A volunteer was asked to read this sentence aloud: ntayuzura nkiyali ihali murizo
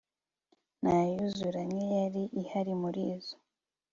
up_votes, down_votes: 2, 0